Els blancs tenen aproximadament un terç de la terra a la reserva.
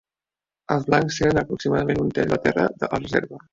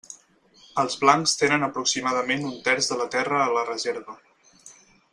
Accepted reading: second